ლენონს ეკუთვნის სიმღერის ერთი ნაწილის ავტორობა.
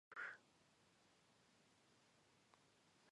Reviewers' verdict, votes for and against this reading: accepted, 2, 1